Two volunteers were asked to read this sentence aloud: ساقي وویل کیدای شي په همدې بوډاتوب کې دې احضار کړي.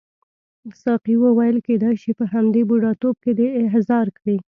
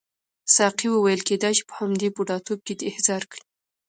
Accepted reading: second